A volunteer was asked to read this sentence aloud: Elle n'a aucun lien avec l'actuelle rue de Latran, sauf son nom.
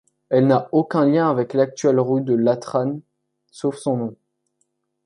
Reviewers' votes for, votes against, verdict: 1, 2, rejected